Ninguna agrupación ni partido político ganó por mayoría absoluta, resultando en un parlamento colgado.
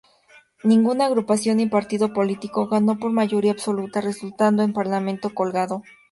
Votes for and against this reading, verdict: 2, 0, accepted